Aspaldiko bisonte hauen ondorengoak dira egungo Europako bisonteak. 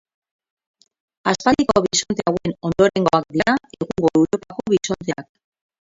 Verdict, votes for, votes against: rejected, 0, 4